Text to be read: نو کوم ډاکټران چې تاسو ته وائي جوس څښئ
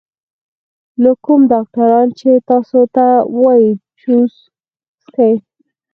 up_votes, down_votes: 2, 4